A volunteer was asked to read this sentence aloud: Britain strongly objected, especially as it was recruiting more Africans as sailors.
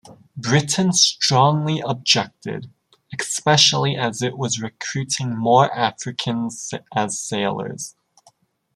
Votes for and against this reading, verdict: 2, 0, accepted